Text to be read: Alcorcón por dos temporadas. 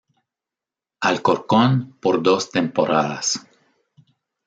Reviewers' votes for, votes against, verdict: 3, 0, accepted